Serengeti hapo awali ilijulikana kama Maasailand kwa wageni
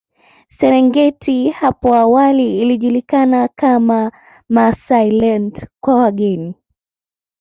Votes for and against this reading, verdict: 0, 2, rejected